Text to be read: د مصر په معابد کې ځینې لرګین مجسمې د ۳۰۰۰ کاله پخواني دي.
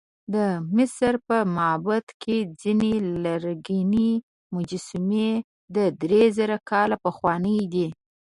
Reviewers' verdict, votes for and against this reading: rejected, 0, 2